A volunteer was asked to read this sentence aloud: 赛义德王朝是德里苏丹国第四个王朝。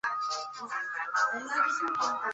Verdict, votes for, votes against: rejected, 0, 2